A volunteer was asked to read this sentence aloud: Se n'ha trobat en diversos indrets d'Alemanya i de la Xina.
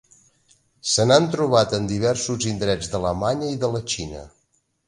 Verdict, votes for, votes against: rejected, 0, 2